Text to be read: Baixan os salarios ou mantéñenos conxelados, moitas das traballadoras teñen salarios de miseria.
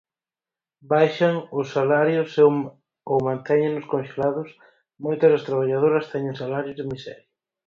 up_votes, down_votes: 0, 4